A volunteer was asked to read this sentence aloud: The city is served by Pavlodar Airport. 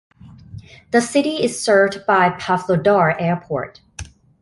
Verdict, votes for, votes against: accepted, 2, 0